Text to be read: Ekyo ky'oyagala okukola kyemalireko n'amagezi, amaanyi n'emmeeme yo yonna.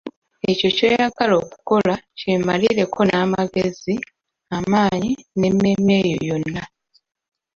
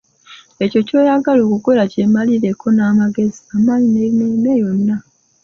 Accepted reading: first